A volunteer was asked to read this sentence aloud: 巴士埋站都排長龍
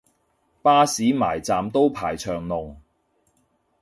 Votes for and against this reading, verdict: 2, 0, accepted